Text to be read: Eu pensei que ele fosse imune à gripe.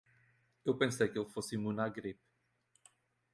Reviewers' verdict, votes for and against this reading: accepted, 2, 0